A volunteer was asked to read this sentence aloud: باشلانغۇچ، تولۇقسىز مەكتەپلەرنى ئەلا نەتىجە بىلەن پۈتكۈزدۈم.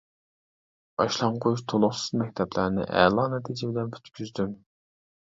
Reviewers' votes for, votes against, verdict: 0, 2, rejected